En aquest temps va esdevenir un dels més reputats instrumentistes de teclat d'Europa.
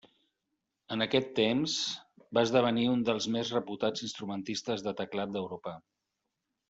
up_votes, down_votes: 6, 2